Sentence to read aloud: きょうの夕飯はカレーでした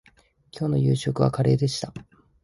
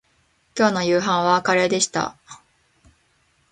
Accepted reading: second